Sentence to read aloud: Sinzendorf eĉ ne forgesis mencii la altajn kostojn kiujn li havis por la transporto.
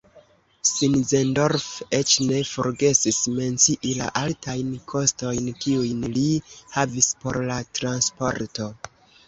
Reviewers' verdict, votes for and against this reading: accepted, 2, 1